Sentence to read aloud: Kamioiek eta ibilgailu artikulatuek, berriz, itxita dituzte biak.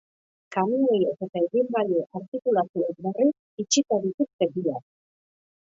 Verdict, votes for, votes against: rejected, 0, 2